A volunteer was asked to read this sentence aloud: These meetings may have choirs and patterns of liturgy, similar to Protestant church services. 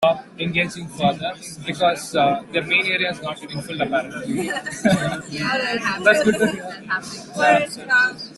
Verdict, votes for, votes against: rejected, 0, 2